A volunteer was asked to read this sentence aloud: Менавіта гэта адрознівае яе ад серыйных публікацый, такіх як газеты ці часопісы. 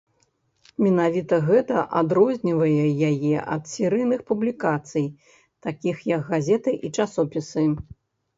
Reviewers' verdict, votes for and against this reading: rejected, 1, 2